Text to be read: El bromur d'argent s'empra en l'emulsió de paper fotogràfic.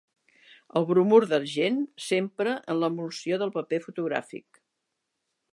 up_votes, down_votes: 2, 3